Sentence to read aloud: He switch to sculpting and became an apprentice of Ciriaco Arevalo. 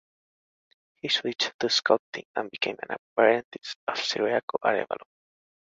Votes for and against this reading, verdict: 2, 0, accepted